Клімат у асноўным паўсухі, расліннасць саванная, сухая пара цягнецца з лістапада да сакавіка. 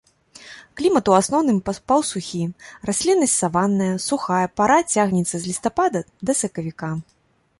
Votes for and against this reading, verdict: 1, 2, rejected